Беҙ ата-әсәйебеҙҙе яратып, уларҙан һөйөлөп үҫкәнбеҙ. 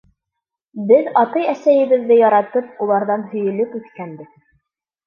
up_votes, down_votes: 2, 0